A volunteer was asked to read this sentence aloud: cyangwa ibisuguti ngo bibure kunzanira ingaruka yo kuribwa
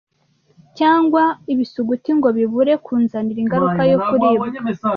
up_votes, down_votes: 0, 2